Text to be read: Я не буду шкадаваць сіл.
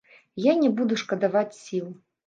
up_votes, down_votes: 2, 0